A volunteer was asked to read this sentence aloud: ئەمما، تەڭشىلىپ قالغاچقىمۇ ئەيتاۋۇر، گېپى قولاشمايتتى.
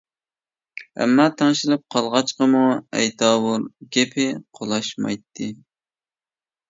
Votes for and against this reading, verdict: 2, 0, accepted